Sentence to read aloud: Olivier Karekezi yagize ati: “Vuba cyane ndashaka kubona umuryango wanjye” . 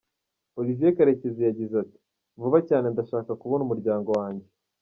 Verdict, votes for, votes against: accepted, 2, 0